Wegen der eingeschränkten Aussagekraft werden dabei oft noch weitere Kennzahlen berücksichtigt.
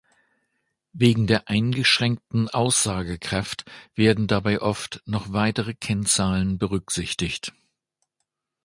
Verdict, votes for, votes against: accepted, 3, 0